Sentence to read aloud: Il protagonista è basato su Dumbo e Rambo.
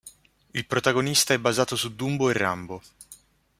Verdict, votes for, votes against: accepted, 2, 0